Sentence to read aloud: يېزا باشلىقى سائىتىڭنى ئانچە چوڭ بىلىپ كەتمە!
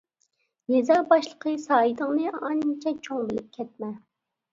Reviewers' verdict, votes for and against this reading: rejected, 0, 2